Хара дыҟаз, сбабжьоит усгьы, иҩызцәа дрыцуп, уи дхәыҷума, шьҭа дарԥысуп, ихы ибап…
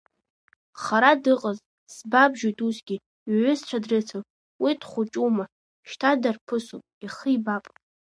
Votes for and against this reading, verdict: 1, 2, rejected